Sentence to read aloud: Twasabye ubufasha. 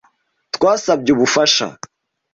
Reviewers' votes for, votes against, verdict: 2, 0, accepted